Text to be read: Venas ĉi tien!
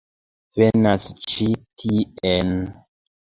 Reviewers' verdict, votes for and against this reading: accepted, 2, 1